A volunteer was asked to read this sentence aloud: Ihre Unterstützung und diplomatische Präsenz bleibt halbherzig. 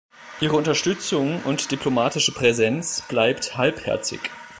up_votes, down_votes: 3, 1